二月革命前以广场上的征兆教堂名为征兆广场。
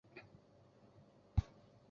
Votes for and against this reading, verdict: 0, 2, rejected